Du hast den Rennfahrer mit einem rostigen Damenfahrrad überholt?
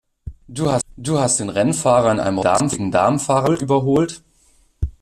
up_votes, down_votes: 0, 2